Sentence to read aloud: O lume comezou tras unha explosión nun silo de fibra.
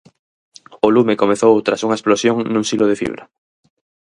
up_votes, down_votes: 4, 0